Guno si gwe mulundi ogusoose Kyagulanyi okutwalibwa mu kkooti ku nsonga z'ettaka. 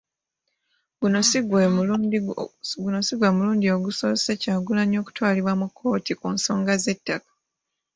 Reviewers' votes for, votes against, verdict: 0, 3, rejected